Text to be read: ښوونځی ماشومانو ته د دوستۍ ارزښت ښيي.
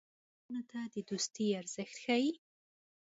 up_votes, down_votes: 0, 2